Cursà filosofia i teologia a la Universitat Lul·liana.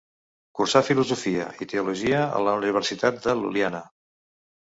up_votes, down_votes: 1, 2